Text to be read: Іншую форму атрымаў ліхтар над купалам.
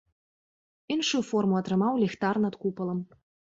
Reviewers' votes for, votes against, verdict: 3, 0, accepted